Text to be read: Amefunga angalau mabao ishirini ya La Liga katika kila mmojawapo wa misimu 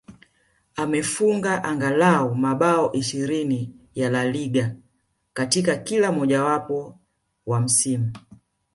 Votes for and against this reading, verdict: 2, 0, accepted